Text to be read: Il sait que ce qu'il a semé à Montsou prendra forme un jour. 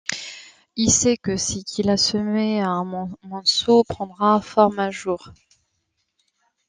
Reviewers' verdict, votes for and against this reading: rejected, 0, 2